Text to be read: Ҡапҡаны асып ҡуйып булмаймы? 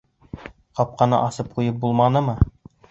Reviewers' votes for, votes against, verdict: 0, 2, rejected